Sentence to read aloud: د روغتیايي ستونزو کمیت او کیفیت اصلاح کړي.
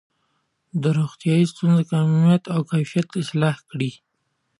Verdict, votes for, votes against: accepted, 2, 0